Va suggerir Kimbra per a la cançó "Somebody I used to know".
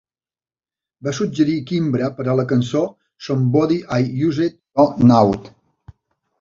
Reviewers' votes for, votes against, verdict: 0, 2, rejected